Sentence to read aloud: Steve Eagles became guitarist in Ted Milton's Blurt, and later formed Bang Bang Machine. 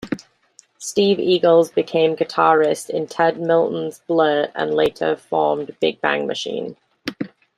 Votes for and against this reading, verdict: 0, 2, rejected